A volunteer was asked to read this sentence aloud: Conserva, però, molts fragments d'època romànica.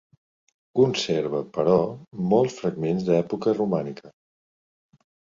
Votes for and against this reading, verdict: 4, 0, accepted